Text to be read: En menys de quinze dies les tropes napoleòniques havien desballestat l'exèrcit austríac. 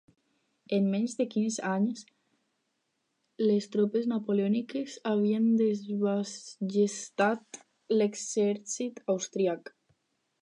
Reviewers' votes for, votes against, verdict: 0, 4, rejected